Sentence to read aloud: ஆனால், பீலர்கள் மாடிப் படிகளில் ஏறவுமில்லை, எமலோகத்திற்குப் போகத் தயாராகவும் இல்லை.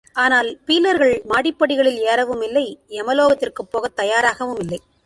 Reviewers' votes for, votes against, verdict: 2, 1, accepted